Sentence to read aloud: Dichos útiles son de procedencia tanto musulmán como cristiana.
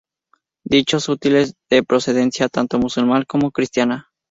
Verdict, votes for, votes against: accepted, 2, 0